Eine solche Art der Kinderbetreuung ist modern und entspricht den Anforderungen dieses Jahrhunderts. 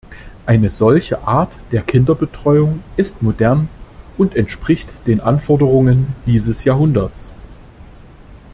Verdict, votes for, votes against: accepted, 2, 0